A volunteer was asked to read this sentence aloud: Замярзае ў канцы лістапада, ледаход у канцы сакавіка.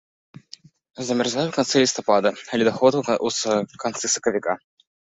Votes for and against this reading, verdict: 0, 3, rejected